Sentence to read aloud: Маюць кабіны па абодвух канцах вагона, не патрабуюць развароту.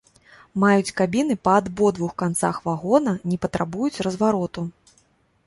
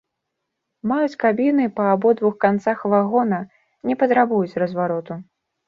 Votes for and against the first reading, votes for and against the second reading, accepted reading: 0, 2, 2, 0, second